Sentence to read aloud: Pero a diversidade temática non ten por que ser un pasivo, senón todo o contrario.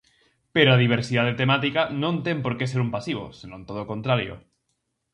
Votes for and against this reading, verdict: 4, 0, accepted